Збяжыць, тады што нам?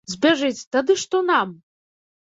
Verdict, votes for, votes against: accepted, 2, 0